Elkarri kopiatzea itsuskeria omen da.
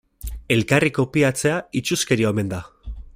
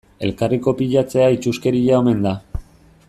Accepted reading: first